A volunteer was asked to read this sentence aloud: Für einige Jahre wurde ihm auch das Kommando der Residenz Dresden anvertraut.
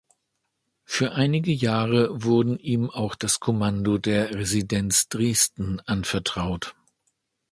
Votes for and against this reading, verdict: 1, 2, rejected